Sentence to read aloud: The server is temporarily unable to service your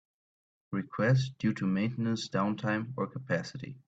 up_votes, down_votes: 0, 3